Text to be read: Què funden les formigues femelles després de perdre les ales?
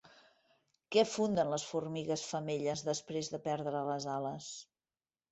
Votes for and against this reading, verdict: 3, 0, accepted